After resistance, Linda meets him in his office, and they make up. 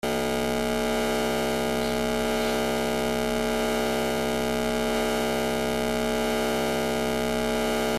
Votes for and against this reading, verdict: 0, 2, rejected